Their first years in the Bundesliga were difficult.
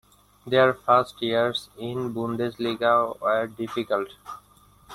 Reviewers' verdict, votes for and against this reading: rejected, 0, 2